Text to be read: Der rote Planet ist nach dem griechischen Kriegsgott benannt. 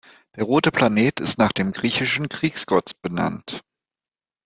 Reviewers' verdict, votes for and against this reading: accepted, 3, 0